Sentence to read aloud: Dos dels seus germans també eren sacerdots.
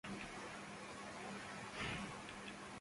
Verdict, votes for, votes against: rejected, 0, 2